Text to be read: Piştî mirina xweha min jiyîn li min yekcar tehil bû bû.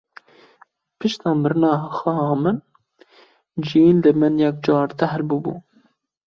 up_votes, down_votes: 0, 2